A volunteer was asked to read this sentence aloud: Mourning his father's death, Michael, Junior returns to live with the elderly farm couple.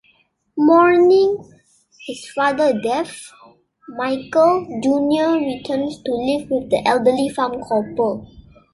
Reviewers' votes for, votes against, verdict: 1, 2, rejected